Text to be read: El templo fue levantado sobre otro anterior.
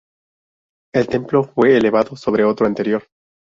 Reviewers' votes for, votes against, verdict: 2, 2, rejected